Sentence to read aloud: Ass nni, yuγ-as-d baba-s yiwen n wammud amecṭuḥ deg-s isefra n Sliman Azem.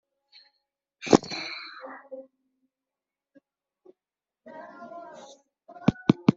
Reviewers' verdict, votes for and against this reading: rejected, 0, 2